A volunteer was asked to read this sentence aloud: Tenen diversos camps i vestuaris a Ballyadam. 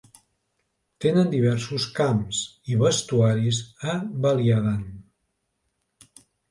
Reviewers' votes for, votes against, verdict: 1, 2, rejected